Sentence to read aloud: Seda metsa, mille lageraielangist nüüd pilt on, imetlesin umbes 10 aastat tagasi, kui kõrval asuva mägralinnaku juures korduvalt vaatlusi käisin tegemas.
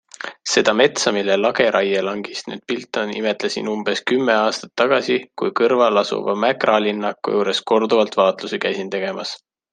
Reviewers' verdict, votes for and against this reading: rejected, 0, 2